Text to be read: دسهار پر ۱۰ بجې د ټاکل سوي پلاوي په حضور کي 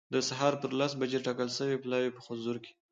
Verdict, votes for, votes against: rejected, 0, 2